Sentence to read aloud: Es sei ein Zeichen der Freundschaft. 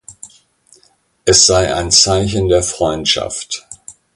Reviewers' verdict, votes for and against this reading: accepted, 2, 0